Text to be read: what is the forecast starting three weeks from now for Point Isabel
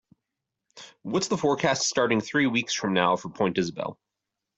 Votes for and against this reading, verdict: 2, 0, accepted